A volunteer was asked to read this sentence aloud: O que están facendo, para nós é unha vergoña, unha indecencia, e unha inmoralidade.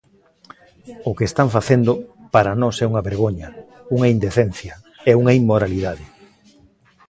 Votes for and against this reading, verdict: 2, 0, accepted